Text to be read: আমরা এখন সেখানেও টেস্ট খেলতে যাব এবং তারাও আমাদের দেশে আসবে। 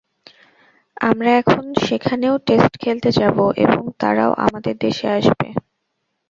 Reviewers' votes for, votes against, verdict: 0, 2, rejected